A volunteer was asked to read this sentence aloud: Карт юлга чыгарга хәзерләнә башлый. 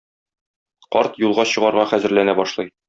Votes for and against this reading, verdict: 2, 0, accepted